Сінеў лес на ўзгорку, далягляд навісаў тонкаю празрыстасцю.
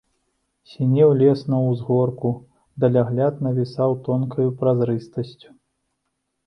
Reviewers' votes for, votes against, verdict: 2, 0, accepted